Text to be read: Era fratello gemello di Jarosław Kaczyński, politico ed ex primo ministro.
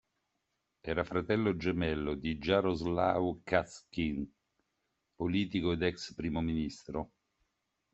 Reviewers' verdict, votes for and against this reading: accepted, 2, 1